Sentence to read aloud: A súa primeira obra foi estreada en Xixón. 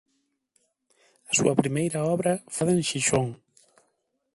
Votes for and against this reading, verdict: 0, 2, rejected